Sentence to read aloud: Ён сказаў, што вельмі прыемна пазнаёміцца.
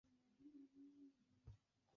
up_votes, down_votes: 1, 2